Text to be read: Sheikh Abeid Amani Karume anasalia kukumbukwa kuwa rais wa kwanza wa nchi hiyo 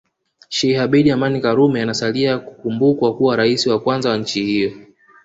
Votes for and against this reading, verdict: 0, 2, rejected